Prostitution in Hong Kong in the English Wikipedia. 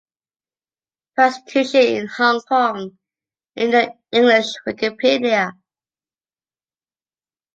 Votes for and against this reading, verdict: 2, 1, accepted